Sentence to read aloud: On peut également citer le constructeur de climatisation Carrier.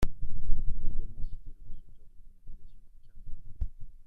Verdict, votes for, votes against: rejected, 0, 2